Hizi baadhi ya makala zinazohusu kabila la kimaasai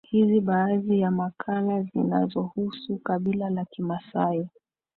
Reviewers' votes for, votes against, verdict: 2, 0, accepted